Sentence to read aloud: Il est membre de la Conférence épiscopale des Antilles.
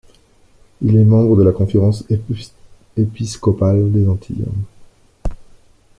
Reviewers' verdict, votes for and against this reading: rejected, 0, 2